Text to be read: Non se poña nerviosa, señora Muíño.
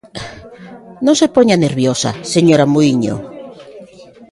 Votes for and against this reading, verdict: 1, 2, rejected